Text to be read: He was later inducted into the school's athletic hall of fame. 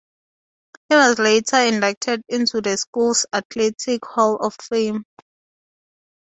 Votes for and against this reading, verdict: 4, 2, accepted